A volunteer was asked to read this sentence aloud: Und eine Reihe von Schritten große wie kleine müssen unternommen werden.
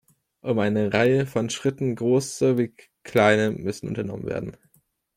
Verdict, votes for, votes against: rejected, 1, 2